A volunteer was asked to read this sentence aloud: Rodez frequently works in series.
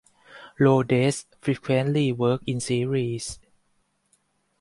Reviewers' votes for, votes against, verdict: 0, 4, rejected